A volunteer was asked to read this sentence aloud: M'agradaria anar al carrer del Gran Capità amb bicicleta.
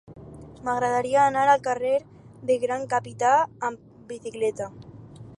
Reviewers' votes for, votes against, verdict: 0, 2, rejected